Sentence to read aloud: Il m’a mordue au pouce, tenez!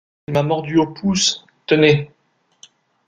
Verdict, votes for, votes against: rejected, 1, 2